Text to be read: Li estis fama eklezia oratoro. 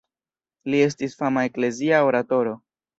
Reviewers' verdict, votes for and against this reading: accepted, 2, 0